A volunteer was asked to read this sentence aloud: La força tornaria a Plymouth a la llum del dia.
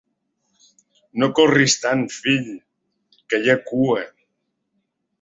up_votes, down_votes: 0, 2